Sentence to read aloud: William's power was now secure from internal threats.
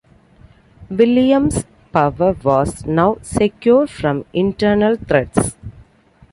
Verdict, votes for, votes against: accepted, 2, 0